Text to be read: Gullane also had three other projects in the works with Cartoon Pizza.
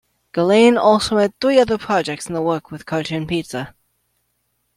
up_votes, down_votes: 2, 1